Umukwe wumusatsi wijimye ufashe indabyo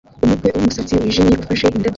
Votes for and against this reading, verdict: 0, 2, rejected